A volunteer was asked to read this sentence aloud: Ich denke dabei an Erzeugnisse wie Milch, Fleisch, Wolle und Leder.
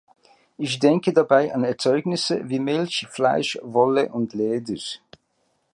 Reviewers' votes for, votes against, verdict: 1, 2, rejected